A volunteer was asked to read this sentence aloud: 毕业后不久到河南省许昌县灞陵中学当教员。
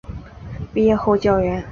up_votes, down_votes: 1, 2